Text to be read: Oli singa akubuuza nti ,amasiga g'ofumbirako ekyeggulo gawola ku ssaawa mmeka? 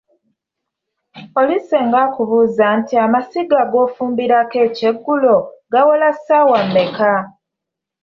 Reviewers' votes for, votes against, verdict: 0, 2, rejected